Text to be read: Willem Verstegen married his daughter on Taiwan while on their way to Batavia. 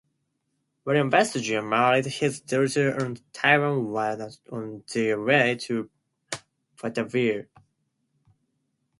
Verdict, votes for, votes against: accepted, 2, 0